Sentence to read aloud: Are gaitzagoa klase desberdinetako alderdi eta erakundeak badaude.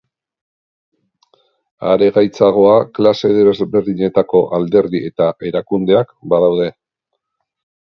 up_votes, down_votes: 2, 1